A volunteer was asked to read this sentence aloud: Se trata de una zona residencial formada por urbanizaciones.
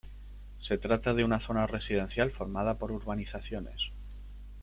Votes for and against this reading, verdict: 2, 1, accepted